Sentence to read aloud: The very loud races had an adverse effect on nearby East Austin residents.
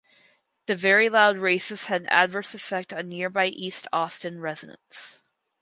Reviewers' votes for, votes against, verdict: 0, 2, rejected